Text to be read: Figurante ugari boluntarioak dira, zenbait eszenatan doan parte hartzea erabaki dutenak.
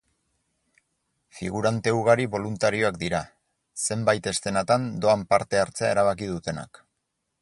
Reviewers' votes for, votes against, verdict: 4, 0, accepted